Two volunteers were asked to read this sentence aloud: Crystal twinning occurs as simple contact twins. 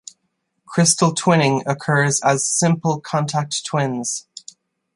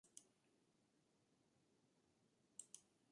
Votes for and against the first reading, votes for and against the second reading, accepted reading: 2, 0, 0, 2, first